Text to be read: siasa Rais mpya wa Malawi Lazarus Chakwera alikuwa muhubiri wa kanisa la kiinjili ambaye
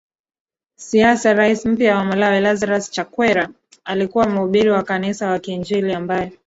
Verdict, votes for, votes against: rejected, 0, 2